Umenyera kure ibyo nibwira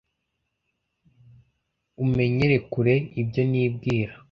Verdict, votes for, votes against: rejected, 0, 2